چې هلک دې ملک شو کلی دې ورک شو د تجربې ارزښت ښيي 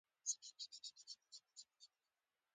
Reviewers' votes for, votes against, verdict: 1, 2, rejected